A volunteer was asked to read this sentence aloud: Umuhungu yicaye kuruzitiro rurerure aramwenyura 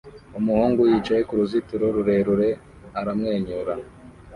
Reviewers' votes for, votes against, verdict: 2, 0, accepted